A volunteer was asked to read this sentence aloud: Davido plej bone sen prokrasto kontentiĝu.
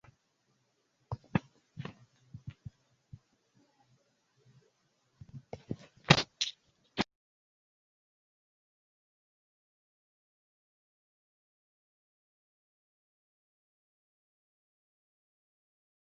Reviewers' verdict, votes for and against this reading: rejected, 0, 2